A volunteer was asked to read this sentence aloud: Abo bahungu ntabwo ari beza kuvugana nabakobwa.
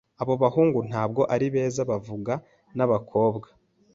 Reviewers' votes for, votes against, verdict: 0, 2, rejected